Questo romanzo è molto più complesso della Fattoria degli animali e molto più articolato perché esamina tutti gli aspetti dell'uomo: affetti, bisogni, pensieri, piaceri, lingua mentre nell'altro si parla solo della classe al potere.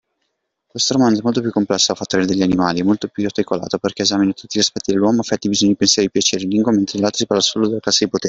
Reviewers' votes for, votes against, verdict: 0, 2, rejected